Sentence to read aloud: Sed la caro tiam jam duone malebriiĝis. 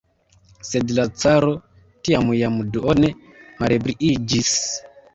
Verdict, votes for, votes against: rejected, 1, 2